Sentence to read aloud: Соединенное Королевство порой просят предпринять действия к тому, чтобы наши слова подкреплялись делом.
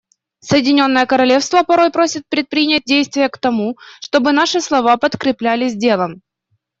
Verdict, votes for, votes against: accepted, 2, 0